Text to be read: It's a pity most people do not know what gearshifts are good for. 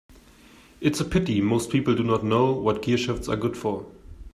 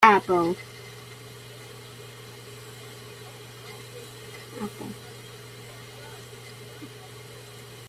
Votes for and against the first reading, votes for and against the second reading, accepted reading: 2, 0, 0, 2, first